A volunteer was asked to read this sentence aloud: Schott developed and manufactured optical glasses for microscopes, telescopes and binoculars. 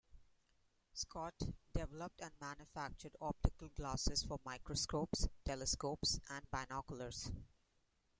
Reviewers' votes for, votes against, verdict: 0, 2, rejected